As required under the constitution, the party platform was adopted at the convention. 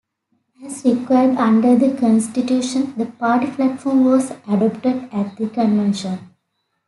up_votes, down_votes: 2, 0